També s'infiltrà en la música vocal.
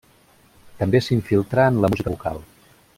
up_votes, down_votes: 1, 2